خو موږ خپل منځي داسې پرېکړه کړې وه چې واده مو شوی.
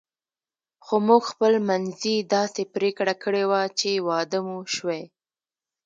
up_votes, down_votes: 1, 2